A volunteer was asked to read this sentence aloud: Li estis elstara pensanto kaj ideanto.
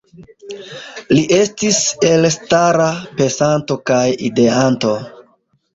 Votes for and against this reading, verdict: 2, 0, accepted